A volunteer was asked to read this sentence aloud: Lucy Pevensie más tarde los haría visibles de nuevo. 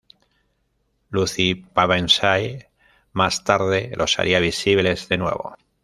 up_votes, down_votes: 1, 2